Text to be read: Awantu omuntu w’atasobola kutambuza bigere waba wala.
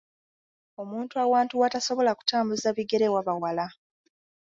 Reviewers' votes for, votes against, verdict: 1, 2, rejected